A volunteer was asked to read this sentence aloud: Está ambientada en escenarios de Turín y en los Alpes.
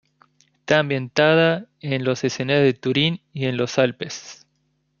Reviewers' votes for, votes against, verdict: 0, 2, rejected